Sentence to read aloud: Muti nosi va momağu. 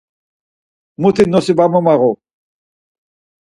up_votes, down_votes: 4, 0